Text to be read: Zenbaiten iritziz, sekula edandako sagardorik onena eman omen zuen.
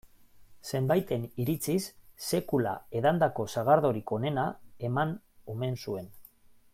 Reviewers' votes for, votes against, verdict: 2, 0, accepted